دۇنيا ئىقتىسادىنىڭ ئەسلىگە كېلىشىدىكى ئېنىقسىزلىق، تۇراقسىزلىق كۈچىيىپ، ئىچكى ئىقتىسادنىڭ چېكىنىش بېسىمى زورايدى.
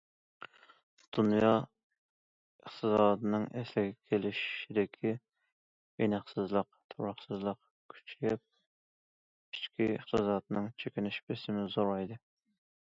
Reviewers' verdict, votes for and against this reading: accepted, 2, 0